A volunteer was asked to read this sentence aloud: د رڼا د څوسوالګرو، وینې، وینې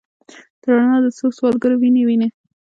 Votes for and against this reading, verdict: 0, 2, rejected